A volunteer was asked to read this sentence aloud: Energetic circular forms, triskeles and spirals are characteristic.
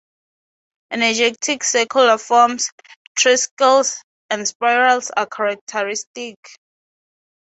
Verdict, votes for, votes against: rejected, 2, 2